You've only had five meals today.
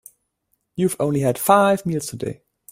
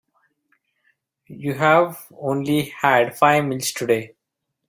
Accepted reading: first